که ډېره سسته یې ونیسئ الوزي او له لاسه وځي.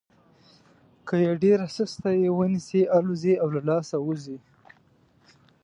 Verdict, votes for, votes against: accepted, 2, 0